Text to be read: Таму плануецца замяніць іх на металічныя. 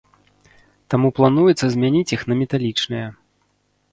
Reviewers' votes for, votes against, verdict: 2, 3, rejected